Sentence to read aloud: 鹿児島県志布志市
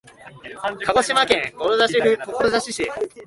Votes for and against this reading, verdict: 0, 2, rejected